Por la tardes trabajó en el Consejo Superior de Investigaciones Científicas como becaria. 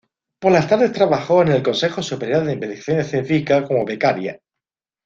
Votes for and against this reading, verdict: 2, 1, accepted